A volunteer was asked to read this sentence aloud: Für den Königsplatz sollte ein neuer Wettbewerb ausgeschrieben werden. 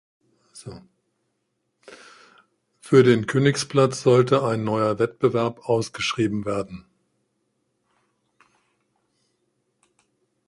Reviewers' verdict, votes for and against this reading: rejected, 1, 2